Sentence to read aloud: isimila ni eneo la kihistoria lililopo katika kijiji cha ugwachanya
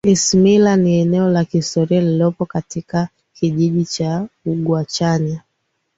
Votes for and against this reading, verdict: 2, 0, accepted